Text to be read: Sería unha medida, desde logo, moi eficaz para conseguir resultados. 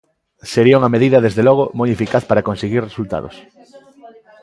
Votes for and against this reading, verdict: 0, 2, rejected